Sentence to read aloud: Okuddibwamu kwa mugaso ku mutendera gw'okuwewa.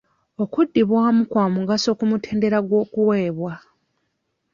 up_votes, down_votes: 0, 2